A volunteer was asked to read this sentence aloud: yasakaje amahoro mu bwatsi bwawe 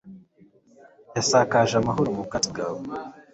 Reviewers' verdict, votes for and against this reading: accepted, 2, 0